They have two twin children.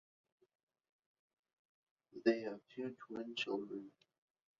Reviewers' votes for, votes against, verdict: 2, 1, accepted